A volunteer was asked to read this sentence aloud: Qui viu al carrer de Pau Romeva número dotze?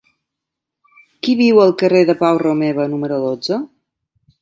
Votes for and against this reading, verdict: 3, 0, accepted